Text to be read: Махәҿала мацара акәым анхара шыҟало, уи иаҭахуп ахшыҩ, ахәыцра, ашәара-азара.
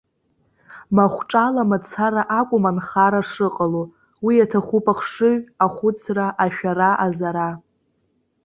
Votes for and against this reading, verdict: 2, 0, accepted